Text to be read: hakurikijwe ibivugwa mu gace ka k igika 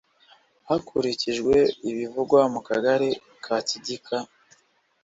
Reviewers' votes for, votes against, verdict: 2, 0, accepted